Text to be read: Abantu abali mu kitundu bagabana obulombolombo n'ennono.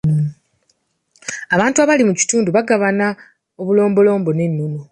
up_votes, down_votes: 0, 2